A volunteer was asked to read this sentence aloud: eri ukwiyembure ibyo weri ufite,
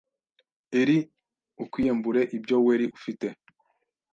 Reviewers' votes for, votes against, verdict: 1, 2, rejected